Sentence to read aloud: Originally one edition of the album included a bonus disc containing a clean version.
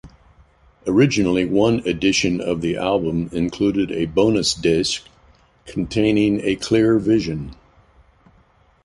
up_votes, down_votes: 1, 2